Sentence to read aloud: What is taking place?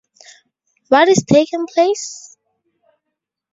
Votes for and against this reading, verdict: 2, 0, accepted